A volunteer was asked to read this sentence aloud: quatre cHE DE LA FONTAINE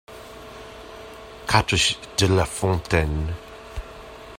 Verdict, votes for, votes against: rejected, 1, 2